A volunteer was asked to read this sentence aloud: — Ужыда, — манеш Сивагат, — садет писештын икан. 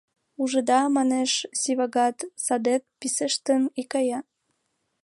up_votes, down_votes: 1, 2